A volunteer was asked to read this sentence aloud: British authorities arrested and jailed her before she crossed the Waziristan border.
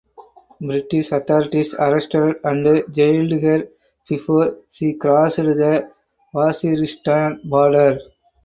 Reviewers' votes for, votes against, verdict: 0, 4, rejected